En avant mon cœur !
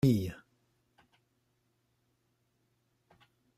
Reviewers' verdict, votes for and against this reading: rejected, 0, 2